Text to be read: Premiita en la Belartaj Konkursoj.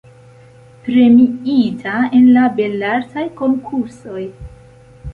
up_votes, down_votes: 2, 0